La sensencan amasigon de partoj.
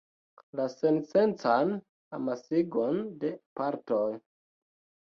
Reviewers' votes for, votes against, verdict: 1, 2, rejected